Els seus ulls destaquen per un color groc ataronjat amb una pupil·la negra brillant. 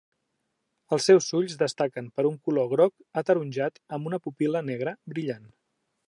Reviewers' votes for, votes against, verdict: 2, 0, accepted